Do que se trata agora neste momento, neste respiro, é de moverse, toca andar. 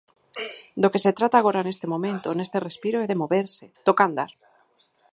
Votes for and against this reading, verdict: 4, 0, accepted